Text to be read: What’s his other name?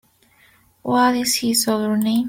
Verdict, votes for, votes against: rejected, 1, 2